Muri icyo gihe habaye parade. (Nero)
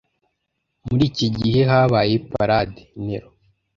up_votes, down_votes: 0, 2